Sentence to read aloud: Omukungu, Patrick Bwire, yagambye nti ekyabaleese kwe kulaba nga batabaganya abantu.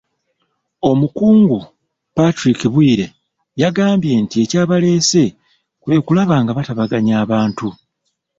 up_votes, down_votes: 2, 0